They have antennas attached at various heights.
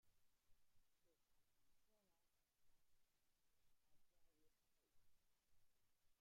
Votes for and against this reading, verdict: 0, 2, rejected